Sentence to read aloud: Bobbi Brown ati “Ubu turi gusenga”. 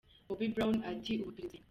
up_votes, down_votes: 0, 2